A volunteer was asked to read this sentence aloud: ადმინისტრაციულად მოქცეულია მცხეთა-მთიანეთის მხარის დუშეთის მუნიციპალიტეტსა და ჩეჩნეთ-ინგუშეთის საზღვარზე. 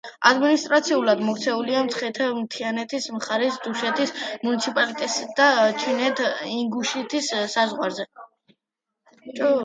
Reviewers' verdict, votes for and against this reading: rejected, 1, 2